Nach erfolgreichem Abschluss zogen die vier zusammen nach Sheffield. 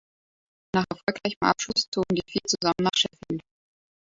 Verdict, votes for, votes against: rejected, 0, 2